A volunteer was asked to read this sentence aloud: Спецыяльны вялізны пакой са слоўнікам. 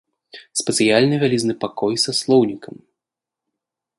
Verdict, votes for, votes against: accepted, 2, 0